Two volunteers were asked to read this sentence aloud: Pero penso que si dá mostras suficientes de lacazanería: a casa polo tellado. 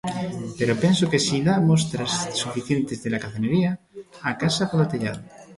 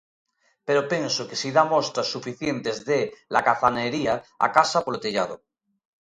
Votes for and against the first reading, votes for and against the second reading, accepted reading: 1, 2, 2, 0, second